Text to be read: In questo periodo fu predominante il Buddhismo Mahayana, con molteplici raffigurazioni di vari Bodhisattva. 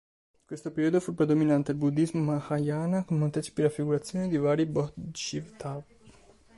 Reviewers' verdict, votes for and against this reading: rejected, 0, 2